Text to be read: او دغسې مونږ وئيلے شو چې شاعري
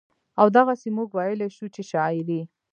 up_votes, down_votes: 0, 2